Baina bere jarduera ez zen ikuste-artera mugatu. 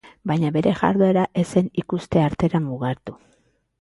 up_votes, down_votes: 2, 2